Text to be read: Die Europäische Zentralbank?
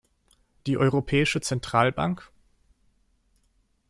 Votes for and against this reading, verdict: 2, 0, accepted